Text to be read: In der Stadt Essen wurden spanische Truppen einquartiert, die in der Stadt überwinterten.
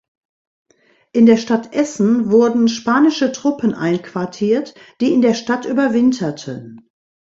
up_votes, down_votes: 2, 0